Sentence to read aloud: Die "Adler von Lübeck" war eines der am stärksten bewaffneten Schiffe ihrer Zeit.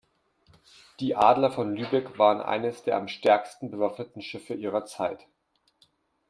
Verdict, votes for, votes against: rejected, 1, 2